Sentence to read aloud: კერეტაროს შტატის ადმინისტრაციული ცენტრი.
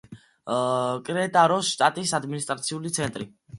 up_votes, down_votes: 1, 2